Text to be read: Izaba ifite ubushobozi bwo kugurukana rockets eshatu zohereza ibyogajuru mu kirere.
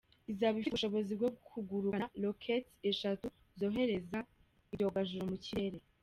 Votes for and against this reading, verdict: 1, 2, rejected